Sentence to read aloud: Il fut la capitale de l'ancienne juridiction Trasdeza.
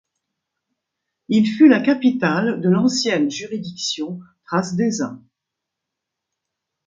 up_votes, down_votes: 2, 0